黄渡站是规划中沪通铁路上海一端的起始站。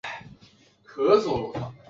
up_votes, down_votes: 1, 5